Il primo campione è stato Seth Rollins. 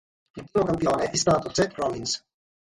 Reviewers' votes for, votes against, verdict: 3, 3, rejected